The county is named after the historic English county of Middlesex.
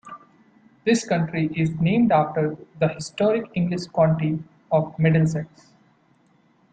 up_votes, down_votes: 0, 2